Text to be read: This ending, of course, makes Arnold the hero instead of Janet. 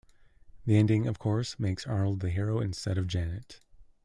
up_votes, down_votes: 0, 2